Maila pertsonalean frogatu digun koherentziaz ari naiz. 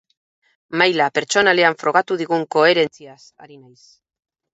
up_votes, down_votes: 0, 2